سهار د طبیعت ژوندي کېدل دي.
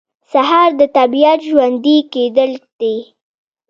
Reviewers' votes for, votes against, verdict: 1, 2, rejected